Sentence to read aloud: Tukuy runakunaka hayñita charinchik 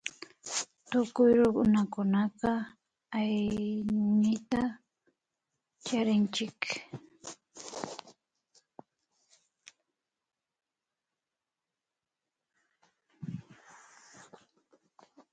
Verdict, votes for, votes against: rejected, 0, 2